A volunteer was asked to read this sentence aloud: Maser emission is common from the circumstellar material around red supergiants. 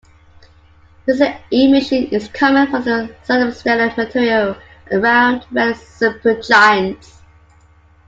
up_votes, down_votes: 1, 2